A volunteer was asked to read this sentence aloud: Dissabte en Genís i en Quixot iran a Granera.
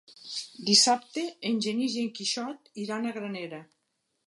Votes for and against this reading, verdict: 3, 0, accepted